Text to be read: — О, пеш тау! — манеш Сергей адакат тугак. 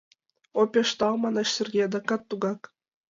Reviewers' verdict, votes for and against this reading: accepted, 2, 0